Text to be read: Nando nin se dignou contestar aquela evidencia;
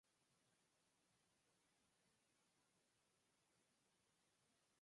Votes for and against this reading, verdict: 0, 4, rejected